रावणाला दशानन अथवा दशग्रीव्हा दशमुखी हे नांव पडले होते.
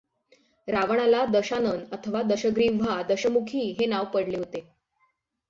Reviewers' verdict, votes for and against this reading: accepted, 6, 0